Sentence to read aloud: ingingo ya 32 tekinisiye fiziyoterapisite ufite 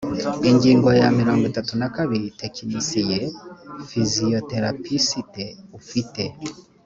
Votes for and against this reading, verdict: 0, 2, rejected